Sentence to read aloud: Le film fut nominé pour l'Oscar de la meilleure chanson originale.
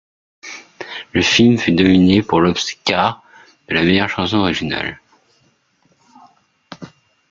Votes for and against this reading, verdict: 1, 2, rejected